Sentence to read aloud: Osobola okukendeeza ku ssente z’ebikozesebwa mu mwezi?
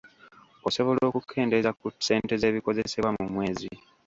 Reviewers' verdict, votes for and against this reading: rejected, 0, 2